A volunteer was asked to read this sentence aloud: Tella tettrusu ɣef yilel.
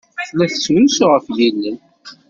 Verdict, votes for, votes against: rejected, 1, 2